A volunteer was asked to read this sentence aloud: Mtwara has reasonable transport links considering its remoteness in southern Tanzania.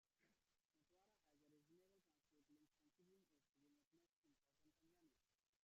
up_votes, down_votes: 1, 2